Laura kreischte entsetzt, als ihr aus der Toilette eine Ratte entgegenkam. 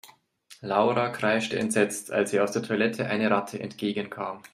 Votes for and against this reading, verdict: 2, 0, accepted